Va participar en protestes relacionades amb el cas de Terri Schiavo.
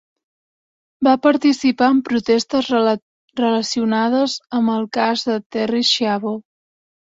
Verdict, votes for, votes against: rejected, 1, 2